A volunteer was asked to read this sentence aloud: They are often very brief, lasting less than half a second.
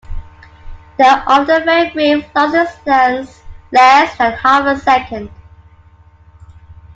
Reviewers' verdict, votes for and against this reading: rejected, 0, 2